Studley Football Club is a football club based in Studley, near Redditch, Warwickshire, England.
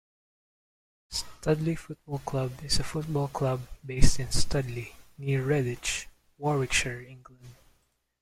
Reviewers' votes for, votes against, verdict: 0, 2, rejected